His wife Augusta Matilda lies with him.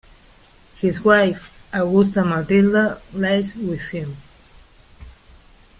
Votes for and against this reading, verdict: 2, 1, accepted